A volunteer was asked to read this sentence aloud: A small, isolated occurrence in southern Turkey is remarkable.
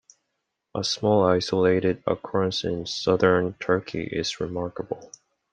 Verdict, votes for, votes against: accepted, 2, 0